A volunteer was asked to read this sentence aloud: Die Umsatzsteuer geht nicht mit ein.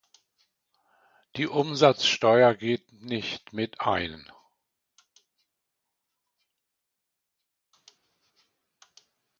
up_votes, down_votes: 2, 0